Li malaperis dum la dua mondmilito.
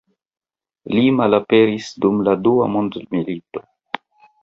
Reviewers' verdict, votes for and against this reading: accepted, 2, 0